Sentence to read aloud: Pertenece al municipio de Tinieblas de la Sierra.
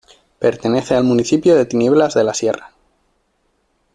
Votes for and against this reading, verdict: 2, 1, accepted